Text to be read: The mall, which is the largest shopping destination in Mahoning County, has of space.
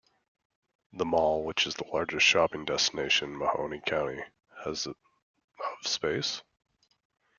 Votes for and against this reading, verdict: 0, 2, rejected